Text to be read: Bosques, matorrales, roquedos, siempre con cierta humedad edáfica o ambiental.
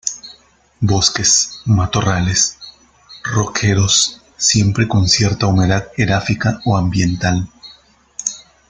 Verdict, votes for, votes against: accepted, 2, 1